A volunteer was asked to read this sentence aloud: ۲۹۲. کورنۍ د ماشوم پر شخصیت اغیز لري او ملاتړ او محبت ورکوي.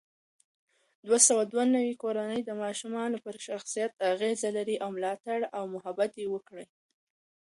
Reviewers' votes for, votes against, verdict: 0, 2, rejected